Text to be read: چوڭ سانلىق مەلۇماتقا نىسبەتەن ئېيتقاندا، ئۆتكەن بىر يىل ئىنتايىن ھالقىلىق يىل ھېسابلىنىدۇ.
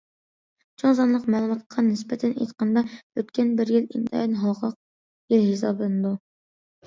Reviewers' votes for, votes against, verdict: 2, 0, accepted